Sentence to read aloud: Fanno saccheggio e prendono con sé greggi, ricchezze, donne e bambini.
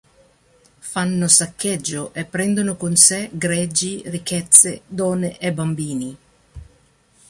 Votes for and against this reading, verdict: 2, 0, accepted